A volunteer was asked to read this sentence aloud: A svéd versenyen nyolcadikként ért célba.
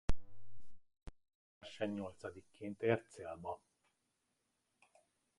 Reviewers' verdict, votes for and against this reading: rejected, 0, 2